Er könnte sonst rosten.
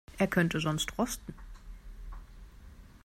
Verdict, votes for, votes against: accepted, 2, 0